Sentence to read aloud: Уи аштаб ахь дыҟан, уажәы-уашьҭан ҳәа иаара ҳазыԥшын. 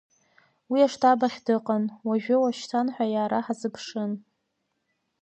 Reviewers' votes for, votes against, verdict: 1, 2, rejected